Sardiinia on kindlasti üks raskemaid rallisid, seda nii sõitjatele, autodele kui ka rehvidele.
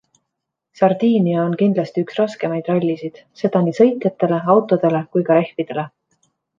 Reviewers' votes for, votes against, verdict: 2, 1, accepted